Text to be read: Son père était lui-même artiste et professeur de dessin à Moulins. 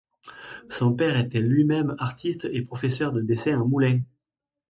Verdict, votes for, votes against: accepted, 2, 0